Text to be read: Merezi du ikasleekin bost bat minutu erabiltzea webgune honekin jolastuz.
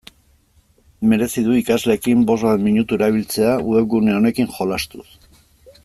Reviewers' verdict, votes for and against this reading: accepted, 2, 0